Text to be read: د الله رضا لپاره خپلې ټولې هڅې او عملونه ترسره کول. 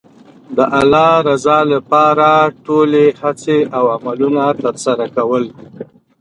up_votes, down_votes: 2, 0